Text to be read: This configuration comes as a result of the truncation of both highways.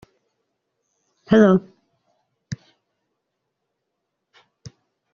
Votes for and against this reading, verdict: 0, 2, rejected